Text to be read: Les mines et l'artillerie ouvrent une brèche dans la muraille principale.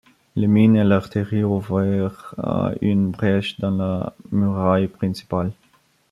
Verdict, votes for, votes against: rejected, 0, 2